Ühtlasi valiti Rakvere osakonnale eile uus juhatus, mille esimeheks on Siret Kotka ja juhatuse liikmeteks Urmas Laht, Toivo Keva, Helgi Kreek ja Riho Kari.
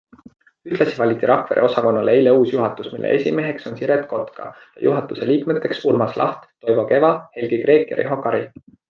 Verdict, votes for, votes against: accepted, 2, 0